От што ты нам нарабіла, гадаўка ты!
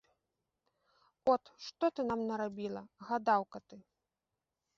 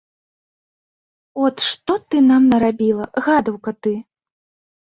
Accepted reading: second